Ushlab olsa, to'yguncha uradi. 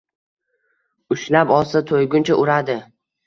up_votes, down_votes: 2, 0